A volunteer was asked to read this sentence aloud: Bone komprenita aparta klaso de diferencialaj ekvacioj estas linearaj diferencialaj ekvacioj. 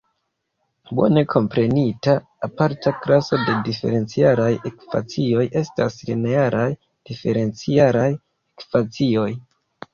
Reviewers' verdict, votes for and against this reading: accepted, 2, 0